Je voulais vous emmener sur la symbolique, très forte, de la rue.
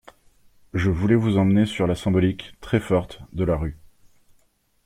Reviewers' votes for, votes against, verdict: 2, 0, accepted